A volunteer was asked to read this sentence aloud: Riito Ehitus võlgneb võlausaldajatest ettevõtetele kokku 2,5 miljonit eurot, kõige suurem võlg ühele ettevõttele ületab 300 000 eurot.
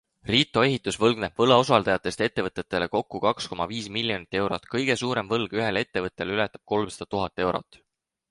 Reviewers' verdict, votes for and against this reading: rejected, 0, 2